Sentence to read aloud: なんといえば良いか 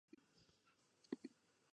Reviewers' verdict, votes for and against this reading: rejected, 0, 2